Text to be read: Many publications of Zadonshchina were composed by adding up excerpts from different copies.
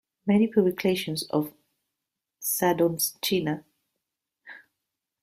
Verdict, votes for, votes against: rejected, 0, 2